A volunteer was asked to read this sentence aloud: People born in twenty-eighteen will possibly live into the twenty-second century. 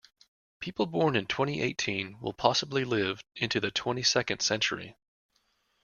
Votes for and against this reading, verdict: 2, 0, accepted